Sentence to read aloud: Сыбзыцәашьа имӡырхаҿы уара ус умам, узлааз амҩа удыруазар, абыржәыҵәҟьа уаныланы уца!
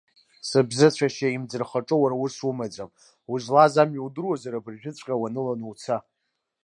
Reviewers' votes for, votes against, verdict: 2, 0, accepted